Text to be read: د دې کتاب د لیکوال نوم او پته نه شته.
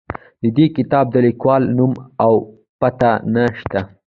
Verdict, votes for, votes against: accepted, 2, 0